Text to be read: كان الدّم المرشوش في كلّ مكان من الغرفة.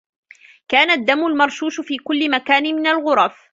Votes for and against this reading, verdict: 0, 2, rejected